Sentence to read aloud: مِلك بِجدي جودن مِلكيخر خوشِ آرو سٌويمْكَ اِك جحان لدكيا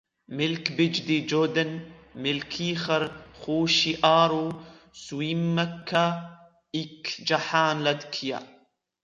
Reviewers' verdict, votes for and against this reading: accepted, 2, 1